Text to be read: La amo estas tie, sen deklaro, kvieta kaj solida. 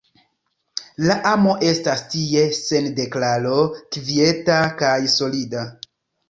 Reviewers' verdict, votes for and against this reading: rejected, 0, 2